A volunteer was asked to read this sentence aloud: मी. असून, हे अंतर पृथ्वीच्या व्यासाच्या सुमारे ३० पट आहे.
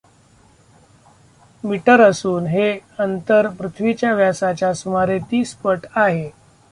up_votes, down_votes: 0, 2